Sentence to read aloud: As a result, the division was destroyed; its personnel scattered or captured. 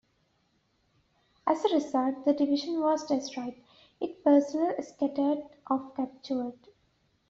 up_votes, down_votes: 1, 2